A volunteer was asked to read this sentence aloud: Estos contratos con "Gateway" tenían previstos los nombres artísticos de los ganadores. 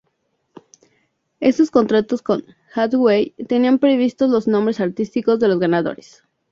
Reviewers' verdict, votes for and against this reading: rejected, 0, 2